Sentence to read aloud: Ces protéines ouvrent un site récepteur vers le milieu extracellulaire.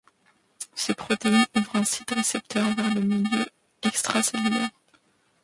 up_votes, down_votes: 1, 2